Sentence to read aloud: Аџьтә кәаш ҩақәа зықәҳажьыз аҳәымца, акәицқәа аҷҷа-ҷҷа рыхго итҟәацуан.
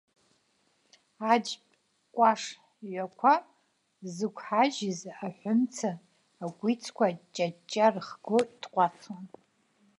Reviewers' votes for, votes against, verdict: 1, 2, rejected